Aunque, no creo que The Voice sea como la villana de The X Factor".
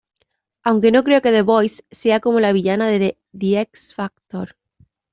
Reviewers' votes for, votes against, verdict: 2, 1, accepted